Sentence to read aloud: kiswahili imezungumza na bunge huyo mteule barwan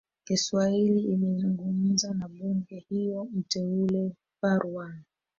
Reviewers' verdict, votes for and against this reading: rejected, 0, 2